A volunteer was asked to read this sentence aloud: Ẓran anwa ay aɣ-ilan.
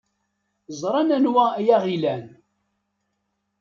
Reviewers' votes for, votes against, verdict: 2, 0, accepted